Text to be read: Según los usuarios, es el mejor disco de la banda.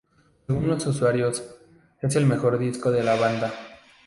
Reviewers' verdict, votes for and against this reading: rejected, 0, 2